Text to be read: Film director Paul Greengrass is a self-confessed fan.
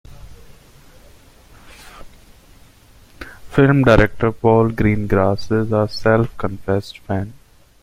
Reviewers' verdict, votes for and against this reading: rejected, 1, 3